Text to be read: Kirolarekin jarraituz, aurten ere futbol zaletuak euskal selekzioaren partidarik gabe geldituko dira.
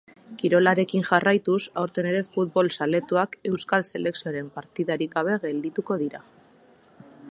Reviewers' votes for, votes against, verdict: 2, 0, accepted